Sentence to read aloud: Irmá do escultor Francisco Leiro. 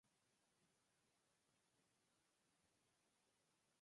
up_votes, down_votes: 0, 4